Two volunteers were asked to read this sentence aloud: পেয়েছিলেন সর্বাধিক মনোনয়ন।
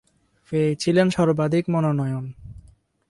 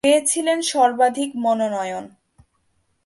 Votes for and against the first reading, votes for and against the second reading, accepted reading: 2, 2, 2, 0, second